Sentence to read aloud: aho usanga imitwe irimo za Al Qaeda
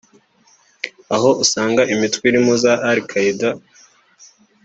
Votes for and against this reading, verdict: 3, 0, accepted